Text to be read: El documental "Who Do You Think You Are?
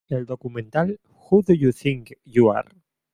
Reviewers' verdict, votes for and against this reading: accepted, 2, 1